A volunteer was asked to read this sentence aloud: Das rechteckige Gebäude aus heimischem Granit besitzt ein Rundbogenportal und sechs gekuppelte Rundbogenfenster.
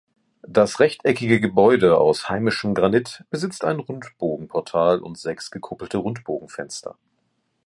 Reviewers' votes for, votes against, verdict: 2, 0, accepted